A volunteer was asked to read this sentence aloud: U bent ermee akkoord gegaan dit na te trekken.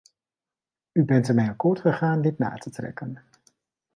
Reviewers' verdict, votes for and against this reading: accepted, 2, 0